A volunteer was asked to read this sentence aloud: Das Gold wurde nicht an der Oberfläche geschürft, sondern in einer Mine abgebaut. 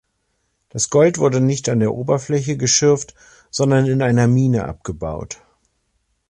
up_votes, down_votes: 2, 0